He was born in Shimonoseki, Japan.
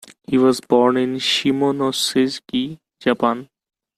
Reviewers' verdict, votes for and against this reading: rejected, 0, 2